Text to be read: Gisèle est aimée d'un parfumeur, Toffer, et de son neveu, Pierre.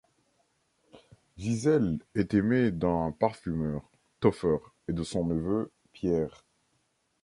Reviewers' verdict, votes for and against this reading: accepted, 2, 0